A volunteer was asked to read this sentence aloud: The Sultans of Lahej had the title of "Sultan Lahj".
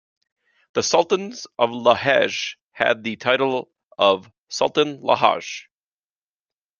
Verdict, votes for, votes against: accepted, 2, 0